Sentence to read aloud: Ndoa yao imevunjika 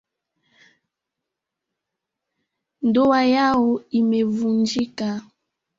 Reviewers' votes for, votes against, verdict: 0, 2, rejected